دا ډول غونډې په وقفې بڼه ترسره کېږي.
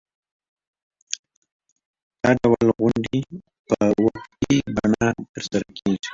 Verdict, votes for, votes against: rejected, 1, 2